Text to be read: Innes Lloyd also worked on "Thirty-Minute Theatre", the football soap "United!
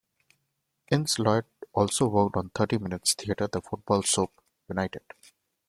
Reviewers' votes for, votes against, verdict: 1, 2, rejected